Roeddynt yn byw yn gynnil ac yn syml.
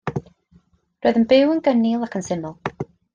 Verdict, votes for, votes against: rejected, 1, 2